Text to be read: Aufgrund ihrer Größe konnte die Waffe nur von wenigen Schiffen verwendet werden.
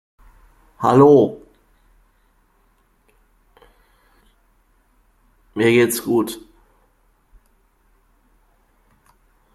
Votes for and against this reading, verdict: 0, 2, rejected